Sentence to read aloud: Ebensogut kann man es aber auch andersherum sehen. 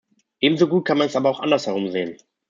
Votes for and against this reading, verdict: 2, 0, accepted